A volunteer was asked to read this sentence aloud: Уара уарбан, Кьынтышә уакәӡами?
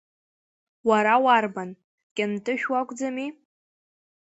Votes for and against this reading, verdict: 3, 1, accepted